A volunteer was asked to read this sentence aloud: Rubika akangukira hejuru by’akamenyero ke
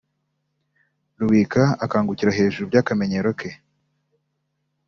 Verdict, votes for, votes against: accepted, 2, 0